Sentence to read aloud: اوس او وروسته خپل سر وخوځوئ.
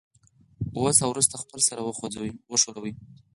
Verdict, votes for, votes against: accepted, 4, 0